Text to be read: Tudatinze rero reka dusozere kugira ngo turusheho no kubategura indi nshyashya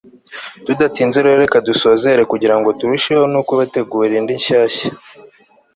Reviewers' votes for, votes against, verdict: 3, 0, accepted